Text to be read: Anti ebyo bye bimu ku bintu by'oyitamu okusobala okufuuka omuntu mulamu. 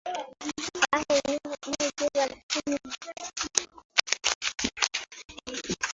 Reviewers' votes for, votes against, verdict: 0, 2, rejected